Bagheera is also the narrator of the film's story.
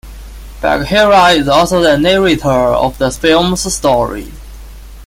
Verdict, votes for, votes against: accepted, 2, 1